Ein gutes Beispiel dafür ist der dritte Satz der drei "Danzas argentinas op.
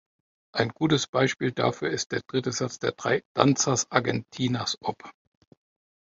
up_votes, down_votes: 2, 0